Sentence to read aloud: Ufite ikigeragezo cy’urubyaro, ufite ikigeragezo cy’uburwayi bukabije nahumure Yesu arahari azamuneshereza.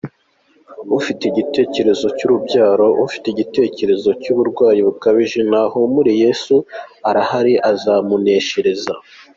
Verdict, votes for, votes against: rejected, 1, 2